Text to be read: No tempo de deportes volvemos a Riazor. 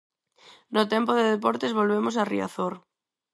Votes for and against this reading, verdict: 4, 0, accepted